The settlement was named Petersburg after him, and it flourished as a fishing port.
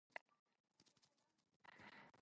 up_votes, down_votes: 0, 2